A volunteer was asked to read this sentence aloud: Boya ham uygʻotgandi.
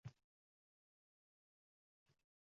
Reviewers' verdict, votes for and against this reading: rejected, 0, 2